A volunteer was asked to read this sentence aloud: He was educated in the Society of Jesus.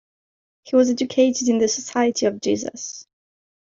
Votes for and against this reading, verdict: 2, 0, accepted